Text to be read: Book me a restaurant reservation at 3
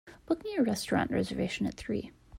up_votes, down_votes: 0, 2